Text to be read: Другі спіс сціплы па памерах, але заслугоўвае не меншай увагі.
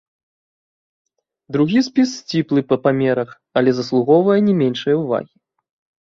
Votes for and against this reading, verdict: 1, 2, rejected